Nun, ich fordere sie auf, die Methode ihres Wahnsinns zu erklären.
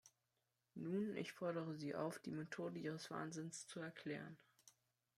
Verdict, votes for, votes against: accepted, 2, 0